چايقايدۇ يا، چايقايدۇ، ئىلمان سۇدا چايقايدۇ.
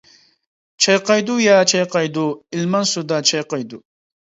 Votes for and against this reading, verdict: 2, 0, accepted